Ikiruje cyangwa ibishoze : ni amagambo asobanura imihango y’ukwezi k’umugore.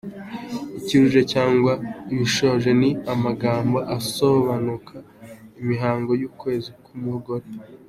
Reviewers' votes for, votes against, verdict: 1, 4, rejected